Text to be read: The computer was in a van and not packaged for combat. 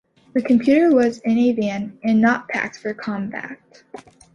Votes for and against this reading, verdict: 0, 2, rejected